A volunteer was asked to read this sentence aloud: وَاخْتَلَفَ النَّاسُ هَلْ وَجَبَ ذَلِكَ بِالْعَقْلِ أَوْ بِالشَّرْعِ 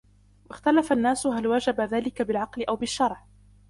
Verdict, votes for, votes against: accepted, 2, 1